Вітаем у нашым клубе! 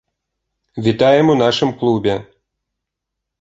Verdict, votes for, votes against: accepted, 2, 0